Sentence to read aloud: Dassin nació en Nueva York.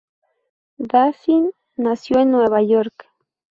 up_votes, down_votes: 2, 0